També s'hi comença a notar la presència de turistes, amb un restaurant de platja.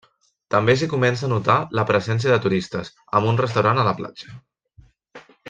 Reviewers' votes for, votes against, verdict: 0, 2, rejected